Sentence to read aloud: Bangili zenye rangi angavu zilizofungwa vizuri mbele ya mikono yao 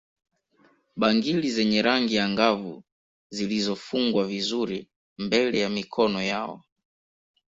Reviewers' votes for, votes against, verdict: 2, 0, accepted